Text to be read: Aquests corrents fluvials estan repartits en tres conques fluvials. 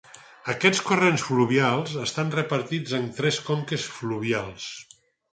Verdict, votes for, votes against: accepted, 4, 0